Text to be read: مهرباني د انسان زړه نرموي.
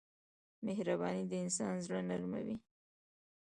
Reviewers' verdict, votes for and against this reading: rejected, 0, 2